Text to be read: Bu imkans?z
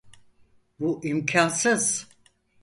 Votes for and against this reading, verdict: 0, 4, rejected